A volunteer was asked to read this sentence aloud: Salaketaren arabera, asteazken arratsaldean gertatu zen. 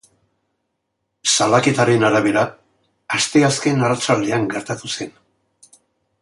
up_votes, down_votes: 2, 0